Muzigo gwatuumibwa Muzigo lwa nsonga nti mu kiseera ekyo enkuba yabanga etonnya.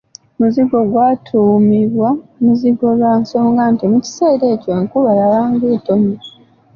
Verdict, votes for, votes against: rejected, 1, 2